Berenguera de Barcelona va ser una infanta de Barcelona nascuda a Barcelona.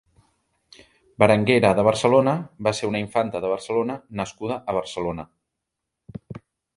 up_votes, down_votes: 5, 0